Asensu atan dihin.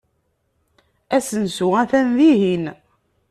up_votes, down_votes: 2, 0